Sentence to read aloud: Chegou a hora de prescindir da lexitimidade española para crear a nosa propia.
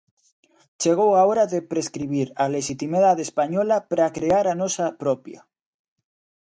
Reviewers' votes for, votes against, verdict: 0, 2, rejected